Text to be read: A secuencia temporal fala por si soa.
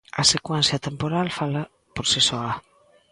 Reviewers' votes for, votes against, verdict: 2, 0, accepted